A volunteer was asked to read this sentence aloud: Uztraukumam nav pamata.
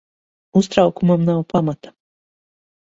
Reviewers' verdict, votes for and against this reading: accepted, 6, 0